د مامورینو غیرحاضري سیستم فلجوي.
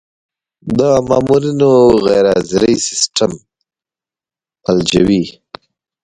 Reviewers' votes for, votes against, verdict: 1, 2, rejected